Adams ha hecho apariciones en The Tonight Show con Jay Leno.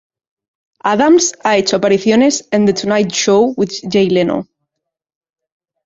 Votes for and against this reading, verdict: 0, 2, rejected